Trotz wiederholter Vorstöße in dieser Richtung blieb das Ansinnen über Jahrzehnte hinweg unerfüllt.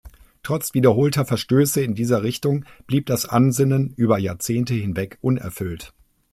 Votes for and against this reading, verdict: 1, 2, rejected